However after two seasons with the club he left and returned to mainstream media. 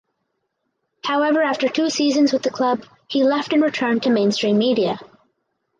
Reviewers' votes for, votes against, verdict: 4, 0, accepted